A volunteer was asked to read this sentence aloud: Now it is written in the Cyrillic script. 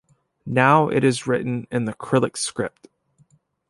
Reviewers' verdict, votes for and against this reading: rejected, 0, 2